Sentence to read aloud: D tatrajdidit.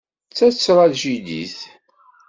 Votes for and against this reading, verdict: 2, 0, accepted